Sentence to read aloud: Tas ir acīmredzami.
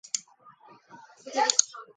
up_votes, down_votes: 0, 2